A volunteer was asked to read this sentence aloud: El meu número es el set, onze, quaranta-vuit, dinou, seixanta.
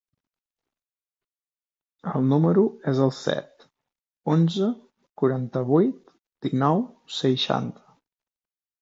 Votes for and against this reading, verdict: 0, 2, rejected